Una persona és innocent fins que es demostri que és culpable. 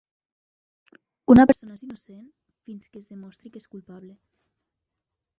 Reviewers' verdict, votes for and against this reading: rejected, 0, 2